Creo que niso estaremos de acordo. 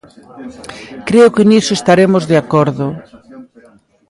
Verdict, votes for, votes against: rejected, 1, 2